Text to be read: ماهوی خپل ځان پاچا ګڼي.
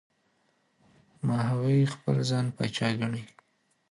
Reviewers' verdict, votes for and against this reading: accepted, 2, 1